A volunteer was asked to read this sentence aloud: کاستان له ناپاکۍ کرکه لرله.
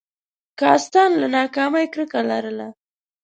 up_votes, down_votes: 1, 2